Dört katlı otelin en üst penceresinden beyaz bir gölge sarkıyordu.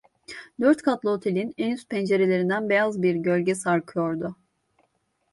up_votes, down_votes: 1, 2